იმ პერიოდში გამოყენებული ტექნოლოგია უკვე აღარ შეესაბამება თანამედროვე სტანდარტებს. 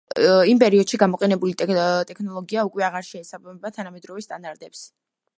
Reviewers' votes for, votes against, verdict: 2, 1, accepted